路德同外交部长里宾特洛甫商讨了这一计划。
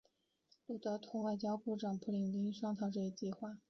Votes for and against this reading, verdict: 0, 2, rejected